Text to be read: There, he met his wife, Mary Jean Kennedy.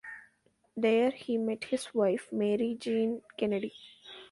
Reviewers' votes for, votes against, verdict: 2, 0, accepted